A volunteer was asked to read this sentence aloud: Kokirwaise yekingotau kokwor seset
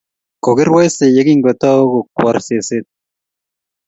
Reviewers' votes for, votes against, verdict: 2, 0, accepted